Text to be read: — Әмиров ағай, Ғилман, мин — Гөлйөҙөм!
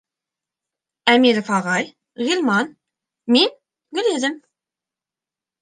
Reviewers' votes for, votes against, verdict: 3, 0, accepted